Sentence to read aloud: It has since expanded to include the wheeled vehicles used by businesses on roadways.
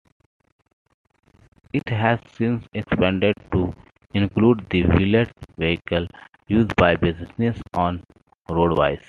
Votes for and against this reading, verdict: 2, 0, accepted